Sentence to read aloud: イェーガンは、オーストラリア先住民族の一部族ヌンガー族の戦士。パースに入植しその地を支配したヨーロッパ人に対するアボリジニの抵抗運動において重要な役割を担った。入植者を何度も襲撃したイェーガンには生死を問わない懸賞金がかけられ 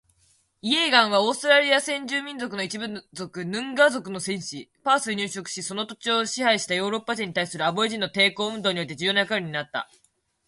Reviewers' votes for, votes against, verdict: 2, 1, accepted